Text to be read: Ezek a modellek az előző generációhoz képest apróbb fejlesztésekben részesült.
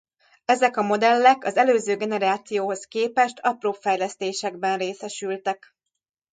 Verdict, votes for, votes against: rejected, 0, 2